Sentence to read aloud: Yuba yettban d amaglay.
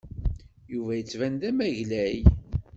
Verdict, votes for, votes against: accepted, 2, 0